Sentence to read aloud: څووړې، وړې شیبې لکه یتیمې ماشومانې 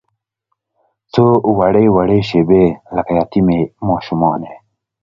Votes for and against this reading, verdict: 2, 0, accepted